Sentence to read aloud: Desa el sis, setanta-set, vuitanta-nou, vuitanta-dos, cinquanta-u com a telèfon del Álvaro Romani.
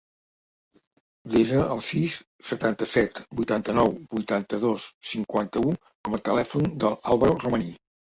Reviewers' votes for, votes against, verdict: 2, 0, accepted